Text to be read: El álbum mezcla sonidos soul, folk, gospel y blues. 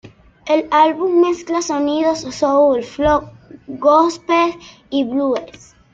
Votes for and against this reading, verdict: 0, 2, rejected